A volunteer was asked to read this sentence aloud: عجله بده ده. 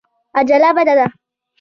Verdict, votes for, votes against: accepted, 2, 1